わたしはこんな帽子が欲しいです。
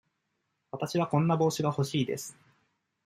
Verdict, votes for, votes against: accepted, 2, 0